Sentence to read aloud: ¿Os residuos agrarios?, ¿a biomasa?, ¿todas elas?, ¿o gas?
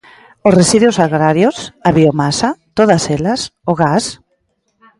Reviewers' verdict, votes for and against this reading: accepted, 2, 0